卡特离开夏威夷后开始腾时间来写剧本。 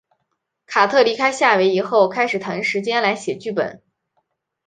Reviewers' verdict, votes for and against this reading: accepted, 3, 0